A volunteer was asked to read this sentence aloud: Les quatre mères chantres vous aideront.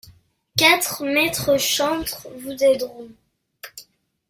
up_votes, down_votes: 0, 2